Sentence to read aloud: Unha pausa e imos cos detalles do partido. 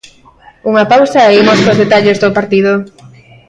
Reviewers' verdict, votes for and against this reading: rejected, 1, 2